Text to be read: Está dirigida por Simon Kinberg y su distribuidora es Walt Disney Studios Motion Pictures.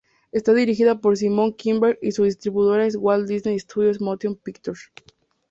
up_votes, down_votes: 4, 0